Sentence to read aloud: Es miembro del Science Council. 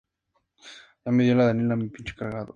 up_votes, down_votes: 0, 2